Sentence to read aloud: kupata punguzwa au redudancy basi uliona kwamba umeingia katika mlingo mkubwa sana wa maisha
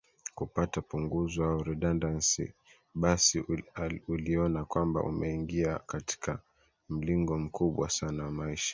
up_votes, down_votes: 2, 0